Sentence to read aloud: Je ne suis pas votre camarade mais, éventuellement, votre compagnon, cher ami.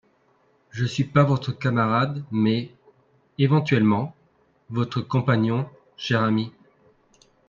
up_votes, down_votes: 2, 3